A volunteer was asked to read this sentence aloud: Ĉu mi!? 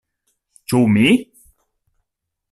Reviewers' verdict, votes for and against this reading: accepted, 2, 0